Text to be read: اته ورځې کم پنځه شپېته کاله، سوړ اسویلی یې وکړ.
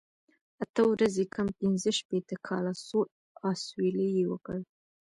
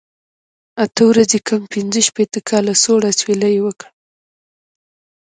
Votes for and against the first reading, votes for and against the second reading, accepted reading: 2, 1, 1, 2, first